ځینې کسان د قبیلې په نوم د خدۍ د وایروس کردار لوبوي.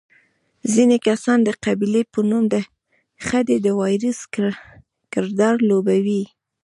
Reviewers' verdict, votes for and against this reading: rejected, 1, 2